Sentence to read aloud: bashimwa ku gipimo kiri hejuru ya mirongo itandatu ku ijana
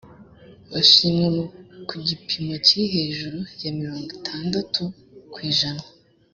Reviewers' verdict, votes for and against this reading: accepted, 2, 0